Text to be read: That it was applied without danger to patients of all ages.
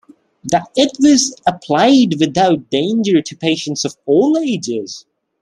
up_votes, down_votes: 2, 0